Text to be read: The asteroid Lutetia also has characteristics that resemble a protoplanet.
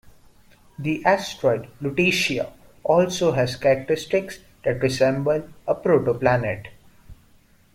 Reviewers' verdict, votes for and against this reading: accepted, 2, 1